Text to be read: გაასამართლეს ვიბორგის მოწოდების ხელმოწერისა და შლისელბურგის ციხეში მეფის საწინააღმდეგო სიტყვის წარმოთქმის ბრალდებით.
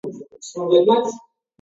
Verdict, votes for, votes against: rejected, 0, 2